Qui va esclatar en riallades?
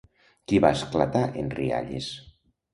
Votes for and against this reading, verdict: 0, 2, rejected